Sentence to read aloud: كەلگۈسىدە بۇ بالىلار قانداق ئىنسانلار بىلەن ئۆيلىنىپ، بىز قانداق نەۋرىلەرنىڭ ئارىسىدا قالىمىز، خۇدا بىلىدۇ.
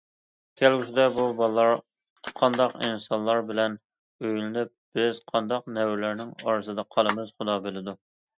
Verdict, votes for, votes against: accepted, 2, 0